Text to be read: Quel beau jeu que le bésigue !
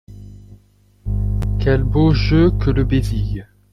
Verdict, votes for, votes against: accepted, 2, 0